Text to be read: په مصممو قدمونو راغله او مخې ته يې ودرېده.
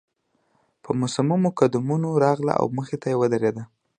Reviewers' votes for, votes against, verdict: 2, 0, accepted